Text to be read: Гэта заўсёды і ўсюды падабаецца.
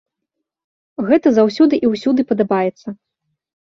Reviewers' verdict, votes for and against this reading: accepted, 2, 0